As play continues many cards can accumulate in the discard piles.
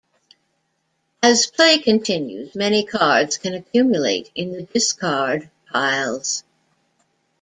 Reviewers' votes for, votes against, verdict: 2, 0, accepted